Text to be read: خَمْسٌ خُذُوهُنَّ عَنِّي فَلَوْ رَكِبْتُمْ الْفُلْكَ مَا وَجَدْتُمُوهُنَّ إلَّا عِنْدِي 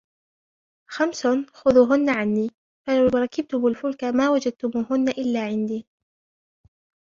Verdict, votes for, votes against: accepted, 2, 0